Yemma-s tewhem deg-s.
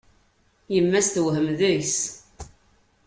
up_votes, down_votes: 2, 0